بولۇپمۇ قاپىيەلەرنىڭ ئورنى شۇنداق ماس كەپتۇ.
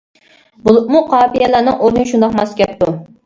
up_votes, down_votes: 2, 0